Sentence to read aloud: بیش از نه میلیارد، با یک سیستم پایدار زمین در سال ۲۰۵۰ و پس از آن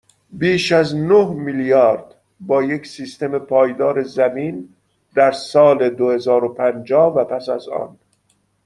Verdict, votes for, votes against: rejected, 0, 2